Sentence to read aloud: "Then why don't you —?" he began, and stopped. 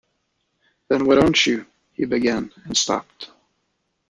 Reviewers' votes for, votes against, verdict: 2, 0, accepted